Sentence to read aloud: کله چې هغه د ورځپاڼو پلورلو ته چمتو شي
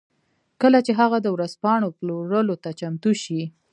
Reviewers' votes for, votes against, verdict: 1, 2, rejected